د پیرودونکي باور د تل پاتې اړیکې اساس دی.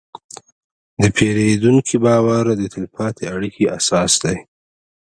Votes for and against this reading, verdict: 2, 0, accepted